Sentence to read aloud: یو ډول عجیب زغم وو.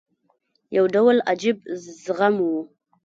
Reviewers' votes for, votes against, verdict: 0, 2, rejected